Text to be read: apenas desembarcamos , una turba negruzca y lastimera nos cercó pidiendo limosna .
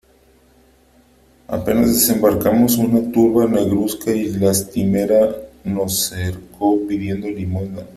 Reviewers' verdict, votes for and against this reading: rejected, 1, 3